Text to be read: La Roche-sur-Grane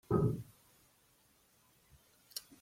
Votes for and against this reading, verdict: 1, 2, rejected